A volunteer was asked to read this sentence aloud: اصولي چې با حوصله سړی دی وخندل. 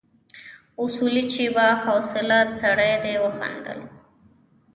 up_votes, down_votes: 1, 2